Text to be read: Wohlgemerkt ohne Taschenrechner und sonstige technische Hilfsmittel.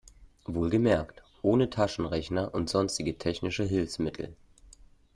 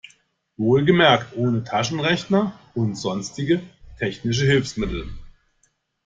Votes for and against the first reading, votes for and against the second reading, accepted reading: 2, 0, 1, 2, first